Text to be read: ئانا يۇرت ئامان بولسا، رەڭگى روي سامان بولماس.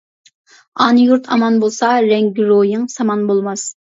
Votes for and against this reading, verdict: 1, 2, rejected